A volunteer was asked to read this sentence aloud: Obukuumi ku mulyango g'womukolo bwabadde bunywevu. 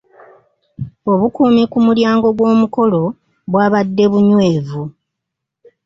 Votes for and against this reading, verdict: 2, 0, accepted